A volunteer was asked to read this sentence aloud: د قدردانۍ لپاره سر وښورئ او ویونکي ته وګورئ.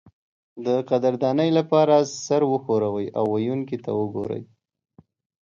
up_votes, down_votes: 2, 0